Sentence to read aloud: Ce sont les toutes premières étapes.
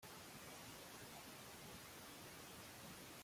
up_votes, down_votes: 0, 2